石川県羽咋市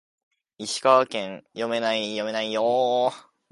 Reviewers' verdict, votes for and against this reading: rejected, 0, 2